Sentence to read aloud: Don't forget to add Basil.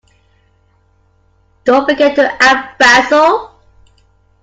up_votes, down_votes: 2, 1